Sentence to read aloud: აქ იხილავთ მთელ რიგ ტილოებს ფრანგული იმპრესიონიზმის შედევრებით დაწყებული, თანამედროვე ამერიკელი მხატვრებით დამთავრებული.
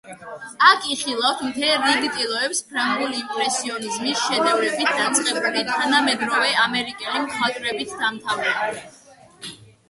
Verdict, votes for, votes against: accepted, 2, 0